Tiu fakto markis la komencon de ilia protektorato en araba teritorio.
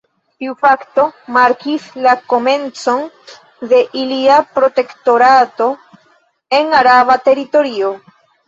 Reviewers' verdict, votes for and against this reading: rejected, 1, 2